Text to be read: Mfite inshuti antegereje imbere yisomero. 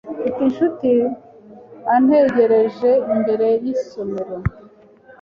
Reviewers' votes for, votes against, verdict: 2, 0, accepted